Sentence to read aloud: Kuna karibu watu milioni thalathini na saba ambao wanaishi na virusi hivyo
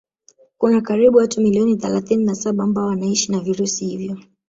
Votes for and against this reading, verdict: 1, 2, rejected